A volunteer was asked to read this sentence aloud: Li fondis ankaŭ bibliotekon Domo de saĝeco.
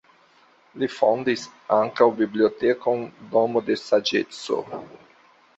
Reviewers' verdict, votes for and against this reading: accepted, 2, 0